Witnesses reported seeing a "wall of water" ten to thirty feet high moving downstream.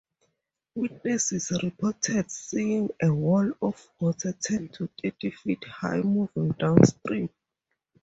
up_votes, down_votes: 2, 0